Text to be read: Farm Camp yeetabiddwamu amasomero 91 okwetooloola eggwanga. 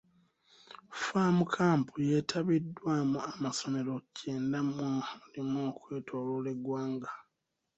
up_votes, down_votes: 0, 2